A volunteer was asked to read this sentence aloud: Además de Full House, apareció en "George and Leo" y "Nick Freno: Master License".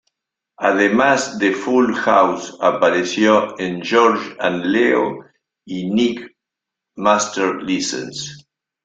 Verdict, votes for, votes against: rejected, 1, 2